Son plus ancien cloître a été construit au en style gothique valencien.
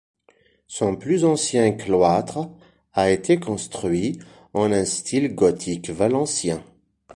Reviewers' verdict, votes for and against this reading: rejected, 1, 2